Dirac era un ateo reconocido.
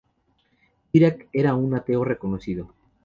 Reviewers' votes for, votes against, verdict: 2, 0, accepted